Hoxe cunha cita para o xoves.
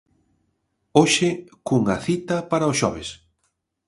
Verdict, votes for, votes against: accepted, 2, 0